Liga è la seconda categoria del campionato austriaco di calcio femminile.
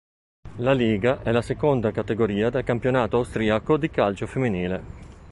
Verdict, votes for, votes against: rejected, 1, 2